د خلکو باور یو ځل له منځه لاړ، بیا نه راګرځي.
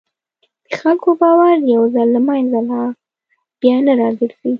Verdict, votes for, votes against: accepted, 2, 0